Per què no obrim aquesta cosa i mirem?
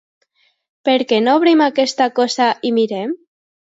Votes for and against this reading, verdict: 2, 0, accepted